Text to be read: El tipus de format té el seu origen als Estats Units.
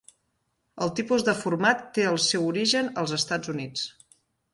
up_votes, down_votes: 4, 0